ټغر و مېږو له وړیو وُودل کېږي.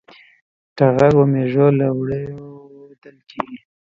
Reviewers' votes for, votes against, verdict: 0, 2, rejected